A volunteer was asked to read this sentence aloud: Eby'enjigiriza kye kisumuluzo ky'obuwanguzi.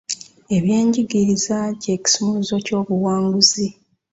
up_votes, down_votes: 2, 0